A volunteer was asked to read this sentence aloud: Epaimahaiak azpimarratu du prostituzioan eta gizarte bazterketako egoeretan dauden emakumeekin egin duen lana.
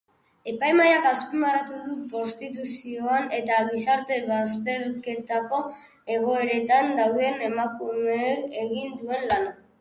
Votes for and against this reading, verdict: 0, 4, rejected